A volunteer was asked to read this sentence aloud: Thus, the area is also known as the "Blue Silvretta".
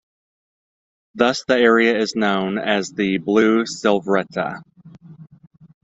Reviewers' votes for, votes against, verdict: 0, 2, rejected